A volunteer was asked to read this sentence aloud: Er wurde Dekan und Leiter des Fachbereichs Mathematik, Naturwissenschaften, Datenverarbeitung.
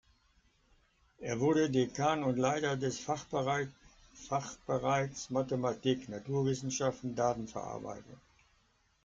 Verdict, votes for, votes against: rejected, 0, 2